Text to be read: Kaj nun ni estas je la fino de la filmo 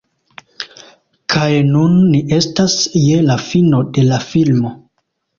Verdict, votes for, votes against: accepted, 2, 0